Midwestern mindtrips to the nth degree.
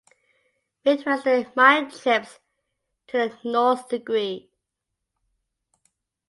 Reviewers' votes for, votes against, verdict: 2, 0, accepted